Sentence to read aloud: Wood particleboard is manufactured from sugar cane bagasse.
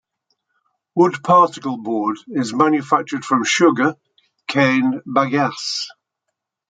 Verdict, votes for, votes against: accepted, 2, 0